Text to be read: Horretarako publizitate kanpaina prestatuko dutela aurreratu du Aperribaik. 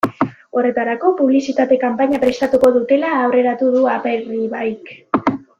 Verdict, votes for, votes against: rejected, 0, 2